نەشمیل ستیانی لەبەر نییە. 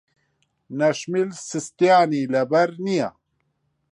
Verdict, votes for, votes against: rejected, 1, 2